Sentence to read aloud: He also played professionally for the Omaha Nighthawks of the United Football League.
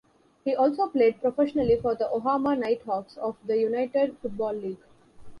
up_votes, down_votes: 1, 2